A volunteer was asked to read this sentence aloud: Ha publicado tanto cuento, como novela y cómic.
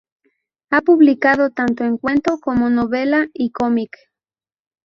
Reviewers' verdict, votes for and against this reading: rejected, 0, 2